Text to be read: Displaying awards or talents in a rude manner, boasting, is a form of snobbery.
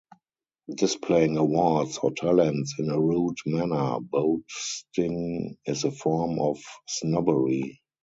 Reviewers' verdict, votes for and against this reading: accepted, 4, 0